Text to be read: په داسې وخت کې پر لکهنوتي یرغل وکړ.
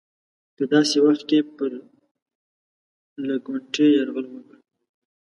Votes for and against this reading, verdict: 0, 2, rejected